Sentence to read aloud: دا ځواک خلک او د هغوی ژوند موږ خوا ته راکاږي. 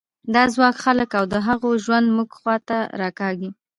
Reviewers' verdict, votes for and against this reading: rejected, 1, 2